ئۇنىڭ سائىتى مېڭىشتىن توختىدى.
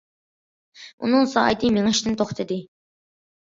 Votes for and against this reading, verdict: 2, 0, accepted